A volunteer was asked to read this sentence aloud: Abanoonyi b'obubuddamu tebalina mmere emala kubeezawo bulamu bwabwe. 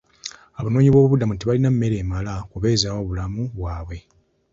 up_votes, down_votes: 2, 0